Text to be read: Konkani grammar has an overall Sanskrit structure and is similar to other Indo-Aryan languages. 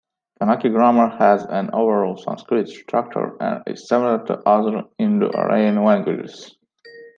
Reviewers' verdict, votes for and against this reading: rejected, 1, 2